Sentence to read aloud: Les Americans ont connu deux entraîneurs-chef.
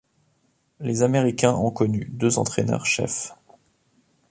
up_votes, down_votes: 1, 2